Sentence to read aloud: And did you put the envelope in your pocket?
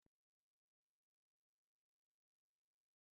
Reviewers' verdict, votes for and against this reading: rejected, 0, 3